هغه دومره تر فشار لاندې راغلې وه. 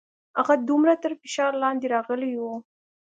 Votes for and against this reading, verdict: 2, 0, accepted